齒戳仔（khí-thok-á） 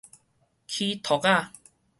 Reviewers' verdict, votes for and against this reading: accepted, 4, 0